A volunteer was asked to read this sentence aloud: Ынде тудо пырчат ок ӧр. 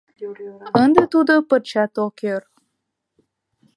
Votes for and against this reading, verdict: 0, 2, rejected